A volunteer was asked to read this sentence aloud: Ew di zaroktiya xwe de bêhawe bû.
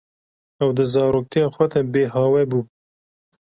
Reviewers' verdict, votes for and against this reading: accepted, 2, 0